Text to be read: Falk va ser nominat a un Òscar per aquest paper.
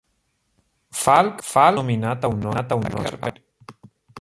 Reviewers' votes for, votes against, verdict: 0, 2, rejected